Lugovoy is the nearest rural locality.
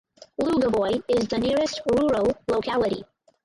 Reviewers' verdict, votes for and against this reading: rejected, 0, 2